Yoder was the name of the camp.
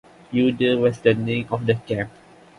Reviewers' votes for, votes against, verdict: 2, 0, accepted